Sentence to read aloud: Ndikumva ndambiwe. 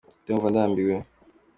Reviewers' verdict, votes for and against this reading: accepted, 2, 1